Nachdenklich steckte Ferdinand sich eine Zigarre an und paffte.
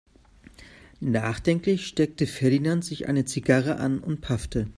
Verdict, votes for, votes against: accepted, 3, 0